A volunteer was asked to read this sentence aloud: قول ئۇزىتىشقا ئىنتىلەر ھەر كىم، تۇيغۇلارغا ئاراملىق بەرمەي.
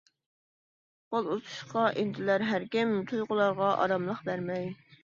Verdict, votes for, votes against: accepted, 2, 1